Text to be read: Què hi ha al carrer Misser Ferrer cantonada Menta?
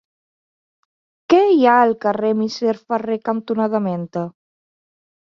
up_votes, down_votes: 2, 0